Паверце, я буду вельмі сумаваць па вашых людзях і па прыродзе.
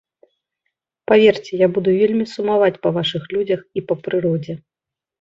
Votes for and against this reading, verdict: 2, 0, accepted